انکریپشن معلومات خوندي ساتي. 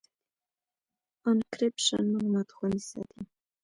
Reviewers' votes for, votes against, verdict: 1, 2, rejected